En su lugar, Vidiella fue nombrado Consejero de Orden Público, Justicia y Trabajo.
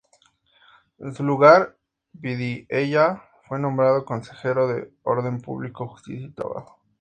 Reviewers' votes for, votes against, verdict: 2, 0, accepted